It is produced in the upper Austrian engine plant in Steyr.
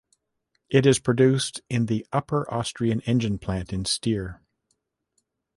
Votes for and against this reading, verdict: 2, 0, accepted